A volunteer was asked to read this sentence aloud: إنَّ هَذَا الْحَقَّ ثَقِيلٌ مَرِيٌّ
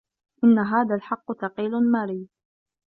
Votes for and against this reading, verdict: 1, 2, rejected